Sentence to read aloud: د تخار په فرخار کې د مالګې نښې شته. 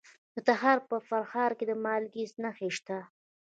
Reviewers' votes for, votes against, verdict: 0, 2, rejected